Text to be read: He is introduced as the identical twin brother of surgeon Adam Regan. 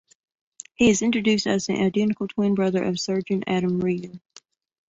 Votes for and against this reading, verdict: 2, 0, accepted